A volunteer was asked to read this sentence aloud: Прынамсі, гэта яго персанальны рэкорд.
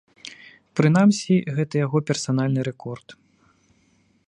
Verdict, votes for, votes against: accepted, 3, 0